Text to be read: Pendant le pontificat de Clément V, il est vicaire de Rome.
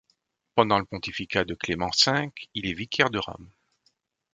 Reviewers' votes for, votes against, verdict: 2, 0, accepted